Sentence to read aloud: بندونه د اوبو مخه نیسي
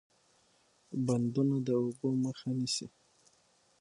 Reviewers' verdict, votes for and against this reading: accepted, 6, 3